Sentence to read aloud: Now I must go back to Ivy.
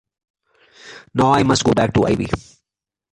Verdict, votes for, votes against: accepted, 2, 1